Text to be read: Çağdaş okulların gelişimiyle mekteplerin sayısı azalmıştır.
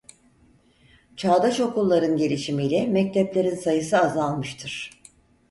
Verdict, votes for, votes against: accepted, 4, 0